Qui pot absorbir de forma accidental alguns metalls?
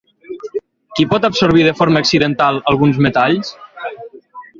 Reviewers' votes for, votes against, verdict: 6, 0, accepted